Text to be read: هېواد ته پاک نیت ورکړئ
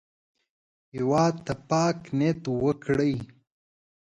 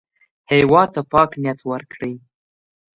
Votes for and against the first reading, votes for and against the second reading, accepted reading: 1, 2, 2, 0, second